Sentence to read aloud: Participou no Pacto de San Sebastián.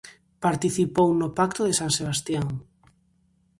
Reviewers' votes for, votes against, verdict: 2, 0, accepted